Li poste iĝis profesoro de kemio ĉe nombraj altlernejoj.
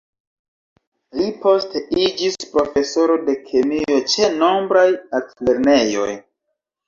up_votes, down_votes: 2, 1